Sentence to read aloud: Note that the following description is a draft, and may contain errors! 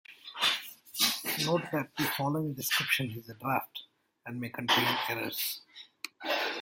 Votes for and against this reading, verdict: 1, 2, rejected